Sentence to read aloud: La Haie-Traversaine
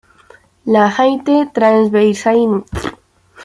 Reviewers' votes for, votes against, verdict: 1, 2, rejected